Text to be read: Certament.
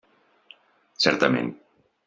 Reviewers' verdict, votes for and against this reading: accepted, 3, 0